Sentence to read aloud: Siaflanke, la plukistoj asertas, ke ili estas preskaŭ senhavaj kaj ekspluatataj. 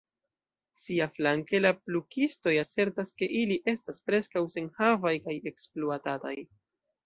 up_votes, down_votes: 1, 2